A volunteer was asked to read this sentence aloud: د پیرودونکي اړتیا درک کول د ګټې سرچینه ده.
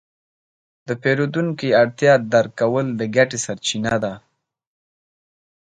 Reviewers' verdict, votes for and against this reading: accepted, 2, 0